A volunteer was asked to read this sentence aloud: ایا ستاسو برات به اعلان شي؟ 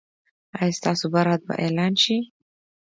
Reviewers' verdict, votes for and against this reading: accepted, 2, 0